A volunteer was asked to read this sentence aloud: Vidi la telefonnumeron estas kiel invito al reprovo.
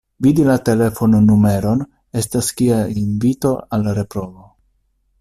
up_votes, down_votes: 0, 2